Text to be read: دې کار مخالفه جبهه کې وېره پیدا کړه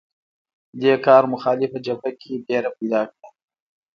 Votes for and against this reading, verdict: 0, 2, rejected